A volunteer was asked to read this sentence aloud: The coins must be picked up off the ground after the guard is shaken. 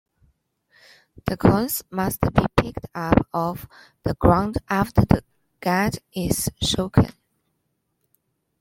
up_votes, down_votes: 0, 2